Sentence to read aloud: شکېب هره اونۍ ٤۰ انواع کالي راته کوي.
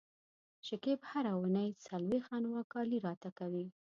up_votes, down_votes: 0, 2